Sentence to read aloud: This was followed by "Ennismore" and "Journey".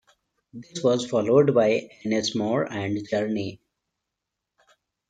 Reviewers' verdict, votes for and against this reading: rejected, 1, 2